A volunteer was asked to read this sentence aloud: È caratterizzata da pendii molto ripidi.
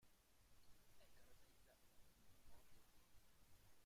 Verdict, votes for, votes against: rejected, 0, 2